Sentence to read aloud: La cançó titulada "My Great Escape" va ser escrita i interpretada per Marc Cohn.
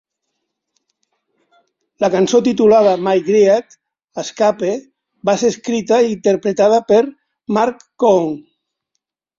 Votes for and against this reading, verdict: 0, 2, rejected